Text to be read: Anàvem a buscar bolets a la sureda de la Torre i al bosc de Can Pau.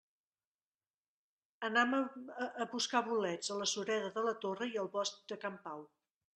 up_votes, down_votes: 0, 2